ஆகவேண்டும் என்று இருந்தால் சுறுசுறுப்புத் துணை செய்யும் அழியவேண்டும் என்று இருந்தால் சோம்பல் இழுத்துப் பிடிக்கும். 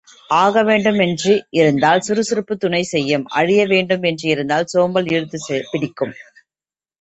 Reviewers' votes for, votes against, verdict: 2, 0, accepted